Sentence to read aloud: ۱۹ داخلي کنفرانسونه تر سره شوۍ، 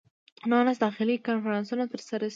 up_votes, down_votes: 0, 2